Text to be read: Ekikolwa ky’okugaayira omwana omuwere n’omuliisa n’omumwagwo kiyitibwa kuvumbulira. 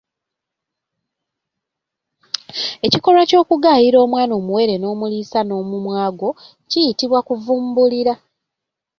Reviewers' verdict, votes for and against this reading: accepted, 3, 0